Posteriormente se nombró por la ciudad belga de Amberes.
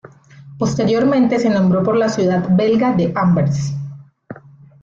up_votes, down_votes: 1, 2